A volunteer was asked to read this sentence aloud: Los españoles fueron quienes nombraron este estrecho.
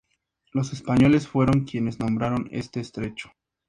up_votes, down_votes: 4, 2